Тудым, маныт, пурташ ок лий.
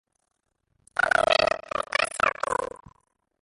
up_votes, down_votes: 0, 2